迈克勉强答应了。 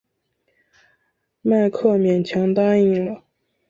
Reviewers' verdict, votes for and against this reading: accepted, 2, 0